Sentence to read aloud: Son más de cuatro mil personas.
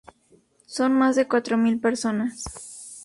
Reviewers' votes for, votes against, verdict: 2, 2, rejected